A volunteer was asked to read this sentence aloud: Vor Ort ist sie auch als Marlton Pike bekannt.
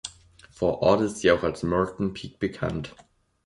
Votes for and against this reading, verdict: 2, 0, accepted